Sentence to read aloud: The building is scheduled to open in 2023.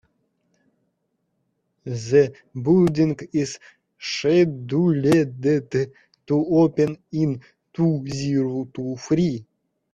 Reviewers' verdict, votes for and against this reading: rejected, 0, 2